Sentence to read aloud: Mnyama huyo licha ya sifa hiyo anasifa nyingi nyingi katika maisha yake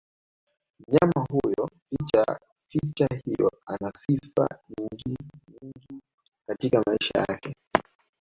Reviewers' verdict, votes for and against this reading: accepted, 2, 1